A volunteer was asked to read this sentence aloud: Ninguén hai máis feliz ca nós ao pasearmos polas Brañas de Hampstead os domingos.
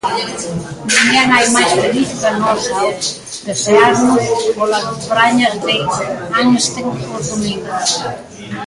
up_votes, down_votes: 0, 2